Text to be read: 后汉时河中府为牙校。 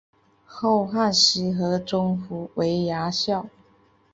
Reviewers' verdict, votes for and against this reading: accepted, 5, 0